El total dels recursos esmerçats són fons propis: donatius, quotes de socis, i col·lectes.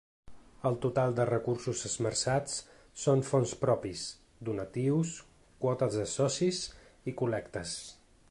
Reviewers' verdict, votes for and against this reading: rejected, 1, 2